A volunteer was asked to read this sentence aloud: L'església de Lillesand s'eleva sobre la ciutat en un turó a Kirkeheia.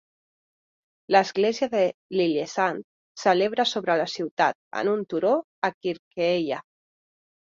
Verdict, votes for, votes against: rejected, 1, 2